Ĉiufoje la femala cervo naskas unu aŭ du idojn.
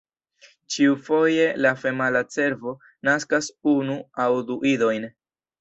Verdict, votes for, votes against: accepted, 2, 0